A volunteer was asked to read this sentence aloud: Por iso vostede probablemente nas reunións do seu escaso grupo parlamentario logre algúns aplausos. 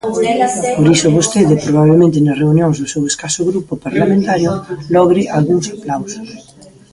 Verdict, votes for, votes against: rejected, 1, 2